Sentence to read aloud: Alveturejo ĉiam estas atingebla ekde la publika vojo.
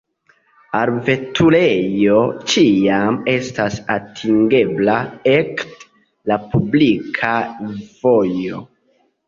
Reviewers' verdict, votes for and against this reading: rejected, 0, 2